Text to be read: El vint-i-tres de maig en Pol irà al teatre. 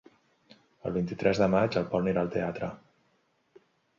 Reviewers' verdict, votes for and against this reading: rejected, 0, 2